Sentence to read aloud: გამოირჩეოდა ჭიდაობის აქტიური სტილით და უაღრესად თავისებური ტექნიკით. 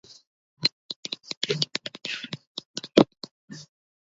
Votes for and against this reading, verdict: 0, 2, rejected